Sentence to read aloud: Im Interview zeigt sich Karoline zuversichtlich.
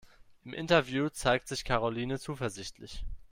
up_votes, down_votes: 2, 0